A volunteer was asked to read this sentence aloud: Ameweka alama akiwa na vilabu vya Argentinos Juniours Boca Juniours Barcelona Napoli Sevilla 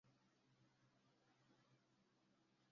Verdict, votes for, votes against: rejected, 0, 2